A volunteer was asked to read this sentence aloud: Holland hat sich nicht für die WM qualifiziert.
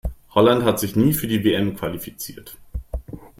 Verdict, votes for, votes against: rejected, 1, 2